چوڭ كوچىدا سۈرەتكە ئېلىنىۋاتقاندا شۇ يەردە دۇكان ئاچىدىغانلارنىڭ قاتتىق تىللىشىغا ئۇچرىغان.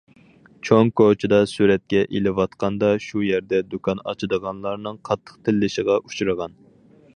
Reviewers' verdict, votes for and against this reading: rejected, 2, 4